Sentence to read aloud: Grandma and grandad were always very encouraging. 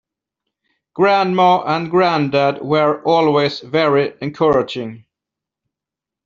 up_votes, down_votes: 2, 0